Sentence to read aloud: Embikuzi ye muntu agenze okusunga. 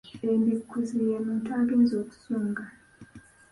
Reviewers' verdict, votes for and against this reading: accepted, 2, 0